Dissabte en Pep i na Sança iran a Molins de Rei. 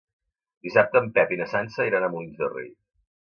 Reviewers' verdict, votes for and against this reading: accepted, 2, 0